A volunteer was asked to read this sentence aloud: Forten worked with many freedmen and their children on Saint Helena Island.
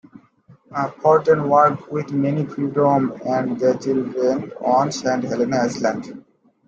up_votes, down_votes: 2, 1